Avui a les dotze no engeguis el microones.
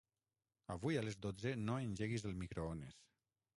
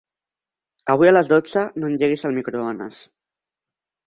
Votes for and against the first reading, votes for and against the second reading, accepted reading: 3, 3, 3, 1, second